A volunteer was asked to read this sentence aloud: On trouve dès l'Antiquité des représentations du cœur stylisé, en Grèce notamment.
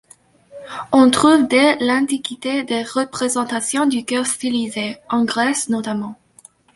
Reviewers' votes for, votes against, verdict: 2, 0, accepted